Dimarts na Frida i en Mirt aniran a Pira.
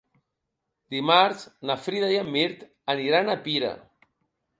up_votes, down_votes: 2, 0